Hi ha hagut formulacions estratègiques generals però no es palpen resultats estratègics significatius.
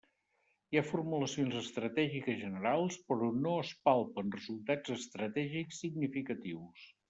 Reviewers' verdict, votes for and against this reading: rejected, 0, 2